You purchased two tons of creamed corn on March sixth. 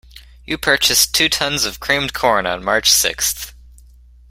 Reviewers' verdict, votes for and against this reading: accepted, 2, 0